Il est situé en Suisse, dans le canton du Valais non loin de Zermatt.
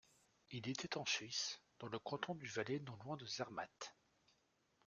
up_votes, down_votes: 0, 2